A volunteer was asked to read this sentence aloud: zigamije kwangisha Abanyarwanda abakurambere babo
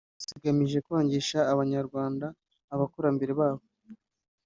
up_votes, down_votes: 2, 0